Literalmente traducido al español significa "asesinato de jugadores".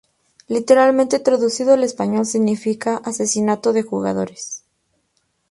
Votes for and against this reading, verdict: 0, 2, rejected